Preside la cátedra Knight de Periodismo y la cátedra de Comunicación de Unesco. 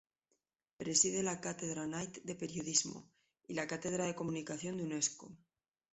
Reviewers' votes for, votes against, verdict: 2, 0, accepted